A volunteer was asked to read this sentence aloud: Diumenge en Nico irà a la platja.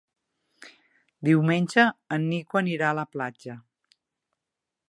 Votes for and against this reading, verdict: 0, 2, rejected